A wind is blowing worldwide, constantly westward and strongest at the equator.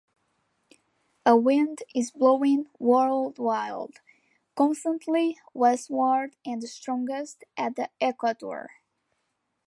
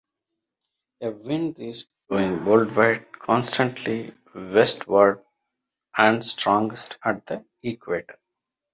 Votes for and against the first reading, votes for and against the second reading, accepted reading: 0, 2, 2, 1, second